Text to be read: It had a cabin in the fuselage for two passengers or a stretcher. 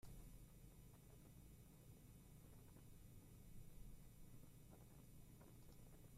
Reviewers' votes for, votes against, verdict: 0, 3, rejected